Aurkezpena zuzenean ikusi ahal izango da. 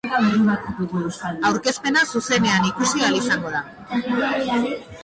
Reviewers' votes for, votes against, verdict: 0, 3, rejected